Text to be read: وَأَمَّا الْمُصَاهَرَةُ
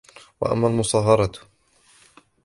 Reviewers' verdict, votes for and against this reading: rejected, 1, 2